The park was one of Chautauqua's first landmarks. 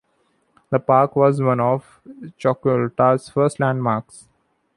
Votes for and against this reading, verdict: 1, 2, rejected